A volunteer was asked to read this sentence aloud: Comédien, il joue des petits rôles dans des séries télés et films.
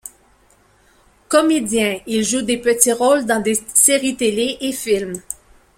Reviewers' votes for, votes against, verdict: 2, 0, accepted